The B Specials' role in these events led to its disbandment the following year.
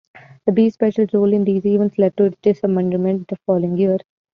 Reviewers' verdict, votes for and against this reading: rejected, 0, 2